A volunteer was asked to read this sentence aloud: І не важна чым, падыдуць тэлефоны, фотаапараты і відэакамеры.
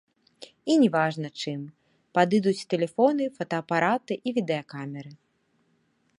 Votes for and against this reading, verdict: 1, 2, rejected